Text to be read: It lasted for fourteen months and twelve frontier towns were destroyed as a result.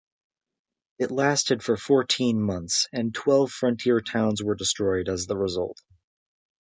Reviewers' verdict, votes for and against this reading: rejected, 0, 2